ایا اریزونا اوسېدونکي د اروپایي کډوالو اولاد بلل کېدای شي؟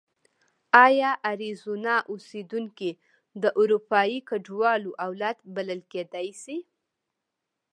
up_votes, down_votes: 2, 0